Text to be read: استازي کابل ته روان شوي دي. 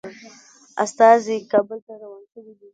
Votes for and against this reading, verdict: 0, 2, rejected